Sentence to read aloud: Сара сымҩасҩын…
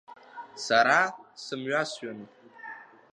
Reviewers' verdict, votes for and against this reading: accepted, 2, 0